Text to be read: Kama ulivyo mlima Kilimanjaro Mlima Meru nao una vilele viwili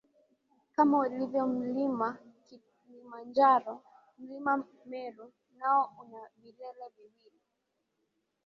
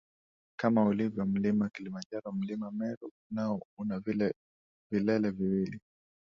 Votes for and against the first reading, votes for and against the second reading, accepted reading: 21, 7, 1, 2, first